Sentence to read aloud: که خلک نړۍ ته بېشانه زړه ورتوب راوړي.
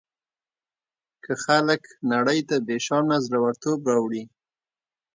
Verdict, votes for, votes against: accepted, 2, 0